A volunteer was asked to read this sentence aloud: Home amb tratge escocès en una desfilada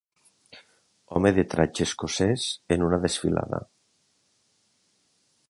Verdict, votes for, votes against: rejected, 1, 2